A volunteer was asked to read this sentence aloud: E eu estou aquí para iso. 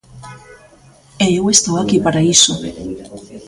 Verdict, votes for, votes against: rejected, 1, 2